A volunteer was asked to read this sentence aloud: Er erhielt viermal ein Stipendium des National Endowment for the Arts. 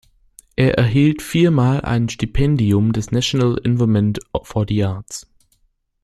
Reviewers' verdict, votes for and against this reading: rejected, 0, 2